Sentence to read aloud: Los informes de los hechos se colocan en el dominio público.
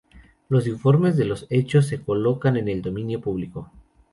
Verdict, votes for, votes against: accepted, 2, 0